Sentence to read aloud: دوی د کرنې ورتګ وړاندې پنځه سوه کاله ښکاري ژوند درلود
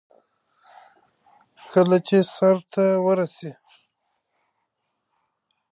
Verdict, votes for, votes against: rejected, 0, 2